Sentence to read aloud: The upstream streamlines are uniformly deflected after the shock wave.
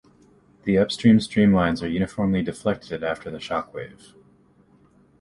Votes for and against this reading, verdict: 2, 1, accepted